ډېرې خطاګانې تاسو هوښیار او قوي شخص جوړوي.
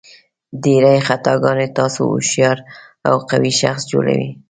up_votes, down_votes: 2, 0